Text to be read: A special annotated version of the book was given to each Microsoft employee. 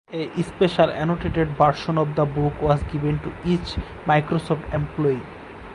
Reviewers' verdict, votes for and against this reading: accepted, 4, 0